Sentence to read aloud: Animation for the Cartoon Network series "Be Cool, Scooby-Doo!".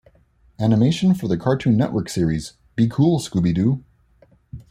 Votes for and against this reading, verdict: 2, 0, accepted